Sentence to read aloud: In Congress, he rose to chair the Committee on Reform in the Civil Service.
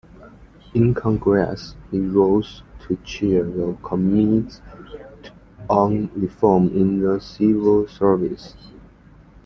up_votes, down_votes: 0, 2